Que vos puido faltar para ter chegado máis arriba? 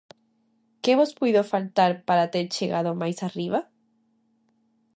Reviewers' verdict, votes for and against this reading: accepted, 2, 0